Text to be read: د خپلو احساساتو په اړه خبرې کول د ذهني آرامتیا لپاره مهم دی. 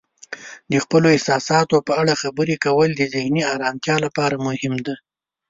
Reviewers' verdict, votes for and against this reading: rejected, 1, 2